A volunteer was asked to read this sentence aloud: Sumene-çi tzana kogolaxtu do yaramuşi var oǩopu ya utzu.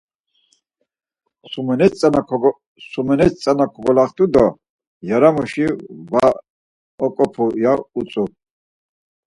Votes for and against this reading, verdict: 0, 4, rejected